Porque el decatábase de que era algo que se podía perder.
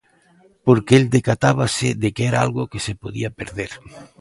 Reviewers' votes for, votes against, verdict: 3, 0, accepted